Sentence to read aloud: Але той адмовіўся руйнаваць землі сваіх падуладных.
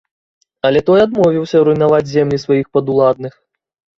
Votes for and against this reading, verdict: 3, 0, accepted